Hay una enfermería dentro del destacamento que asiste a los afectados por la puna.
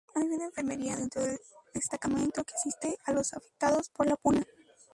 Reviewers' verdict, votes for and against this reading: rejected, 0, 2